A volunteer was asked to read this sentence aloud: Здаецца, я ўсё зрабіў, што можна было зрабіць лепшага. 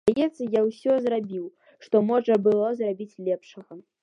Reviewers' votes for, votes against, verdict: 1, 2, rejected